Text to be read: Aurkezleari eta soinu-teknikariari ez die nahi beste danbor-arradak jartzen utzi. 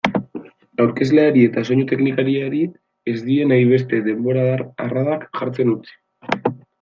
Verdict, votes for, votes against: rejected, 0, 2